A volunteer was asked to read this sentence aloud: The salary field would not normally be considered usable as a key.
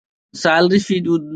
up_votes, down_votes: 0, 2